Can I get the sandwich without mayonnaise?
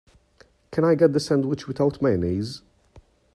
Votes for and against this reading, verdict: 2, 0, accepted